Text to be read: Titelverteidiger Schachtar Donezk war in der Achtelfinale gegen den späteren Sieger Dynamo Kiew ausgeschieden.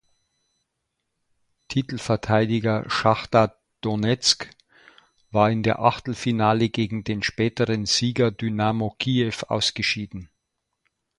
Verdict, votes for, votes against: accepted, 2, 0